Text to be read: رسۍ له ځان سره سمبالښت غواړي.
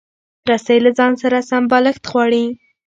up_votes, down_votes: 1, 2